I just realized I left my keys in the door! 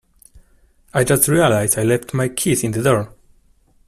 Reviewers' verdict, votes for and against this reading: accepted, 2, 0